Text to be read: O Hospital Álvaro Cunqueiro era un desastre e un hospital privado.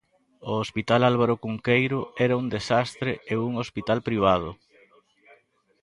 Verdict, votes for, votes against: accepted, 2, 0